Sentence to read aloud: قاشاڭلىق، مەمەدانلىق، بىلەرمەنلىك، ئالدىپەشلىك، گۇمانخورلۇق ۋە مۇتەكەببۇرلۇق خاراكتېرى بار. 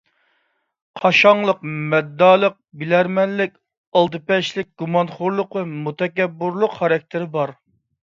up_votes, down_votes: 0, 2